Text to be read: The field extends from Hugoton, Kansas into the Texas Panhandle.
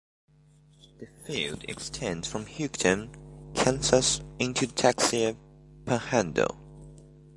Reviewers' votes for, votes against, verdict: 2, 1, accepted